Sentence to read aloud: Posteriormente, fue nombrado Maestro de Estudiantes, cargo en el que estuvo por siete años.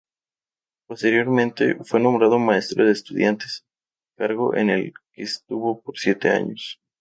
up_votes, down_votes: 2, 0